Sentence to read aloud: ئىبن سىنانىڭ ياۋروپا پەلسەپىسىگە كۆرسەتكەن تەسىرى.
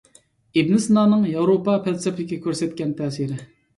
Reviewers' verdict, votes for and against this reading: accepted, 2, 1